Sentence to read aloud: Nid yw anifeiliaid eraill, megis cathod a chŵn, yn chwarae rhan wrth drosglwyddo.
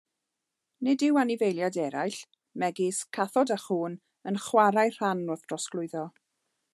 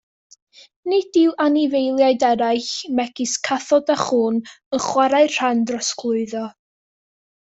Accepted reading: first